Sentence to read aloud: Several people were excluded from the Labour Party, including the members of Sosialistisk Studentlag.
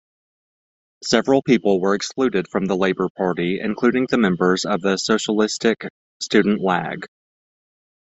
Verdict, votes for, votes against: rejected, 0, 2